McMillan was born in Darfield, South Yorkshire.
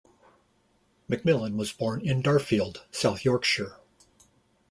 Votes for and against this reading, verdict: 2, 0, accepted